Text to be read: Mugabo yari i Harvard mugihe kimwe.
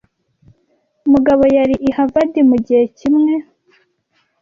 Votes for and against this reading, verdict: 2, 0, accepted